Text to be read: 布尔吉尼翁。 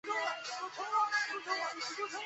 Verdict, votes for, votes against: rejected, 0, 2